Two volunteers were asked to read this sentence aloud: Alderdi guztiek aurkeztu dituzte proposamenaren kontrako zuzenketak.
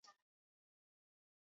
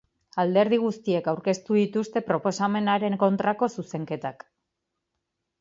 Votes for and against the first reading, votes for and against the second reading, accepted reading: 0, 4, 2, 0, second